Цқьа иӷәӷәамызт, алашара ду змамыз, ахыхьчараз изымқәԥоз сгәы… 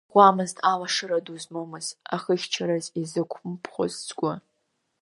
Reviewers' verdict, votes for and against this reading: rejected, 0, 2